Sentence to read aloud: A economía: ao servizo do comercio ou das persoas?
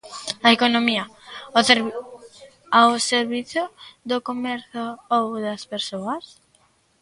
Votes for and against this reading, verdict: 0, 2, rejected